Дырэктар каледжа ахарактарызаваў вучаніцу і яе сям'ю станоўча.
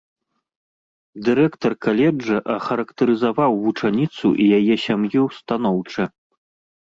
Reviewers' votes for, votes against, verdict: 2, 0, accepted